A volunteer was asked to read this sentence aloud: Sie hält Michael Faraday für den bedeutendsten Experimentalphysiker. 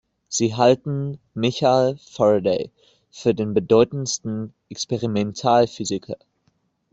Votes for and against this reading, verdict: 0, 2, rejected